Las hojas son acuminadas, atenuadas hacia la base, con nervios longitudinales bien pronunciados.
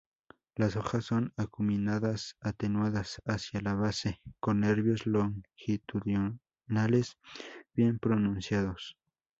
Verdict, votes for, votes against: accepted, 2, 0